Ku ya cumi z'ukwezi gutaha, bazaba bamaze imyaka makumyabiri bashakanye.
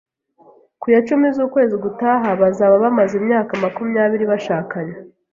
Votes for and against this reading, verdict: 2, 0, accepted